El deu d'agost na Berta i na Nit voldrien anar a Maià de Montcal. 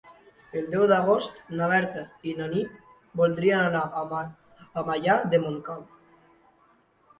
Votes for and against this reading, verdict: 0, 2, rejected